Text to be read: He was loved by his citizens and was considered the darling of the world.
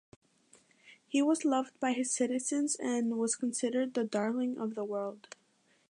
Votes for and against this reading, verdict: 2, 0, accepted